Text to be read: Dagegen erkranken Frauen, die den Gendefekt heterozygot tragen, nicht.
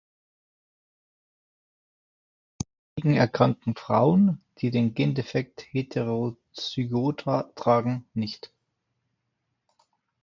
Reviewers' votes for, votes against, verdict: 1, 2, rejected